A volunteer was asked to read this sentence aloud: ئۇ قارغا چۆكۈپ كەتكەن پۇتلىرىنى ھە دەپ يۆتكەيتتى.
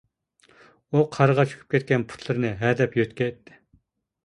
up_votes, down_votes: 2, 1